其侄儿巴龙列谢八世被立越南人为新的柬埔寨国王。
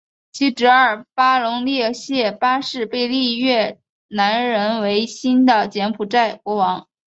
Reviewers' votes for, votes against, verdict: 4, 1, accepted